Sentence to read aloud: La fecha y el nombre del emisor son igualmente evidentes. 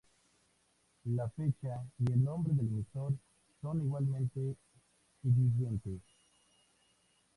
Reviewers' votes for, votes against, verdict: 2, 2, rejected